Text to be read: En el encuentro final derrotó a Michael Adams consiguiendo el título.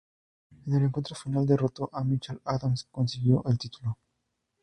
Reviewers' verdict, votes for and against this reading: rejected, 0, 2